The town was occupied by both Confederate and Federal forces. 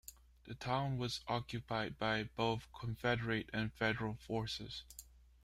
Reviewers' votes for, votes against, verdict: 2, 0, accepted